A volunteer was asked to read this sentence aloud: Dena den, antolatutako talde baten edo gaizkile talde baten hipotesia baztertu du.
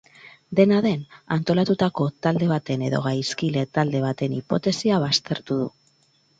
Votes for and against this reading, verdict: 4, 0, accepted